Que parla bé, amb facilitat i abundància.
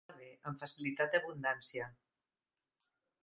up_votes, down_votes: 0, 3